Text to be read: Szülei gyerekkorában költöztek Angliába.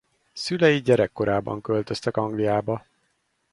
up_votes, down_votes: 4, 0